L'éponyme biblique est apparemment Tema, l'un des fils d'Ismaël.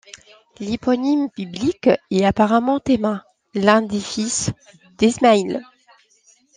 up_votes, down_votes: 1, 2